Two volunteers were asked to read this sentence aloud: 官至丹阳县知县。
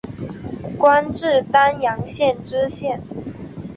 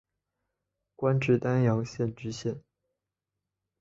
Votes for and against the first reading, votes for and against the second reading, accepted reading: 0, 2, 2, 1, second